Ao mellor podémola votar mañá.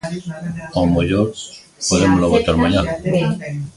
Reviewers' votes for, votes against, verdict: 1, 2, rejected